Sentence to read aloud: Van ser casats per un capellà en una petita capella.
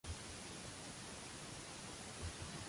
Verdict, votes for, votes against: rejected, 0, 2